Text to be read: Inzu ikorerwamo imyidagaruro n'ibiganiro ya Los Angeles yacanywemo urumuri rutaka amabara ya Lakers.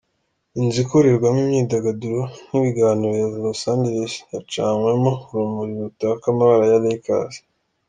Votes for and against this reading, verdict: 2, 0, accepted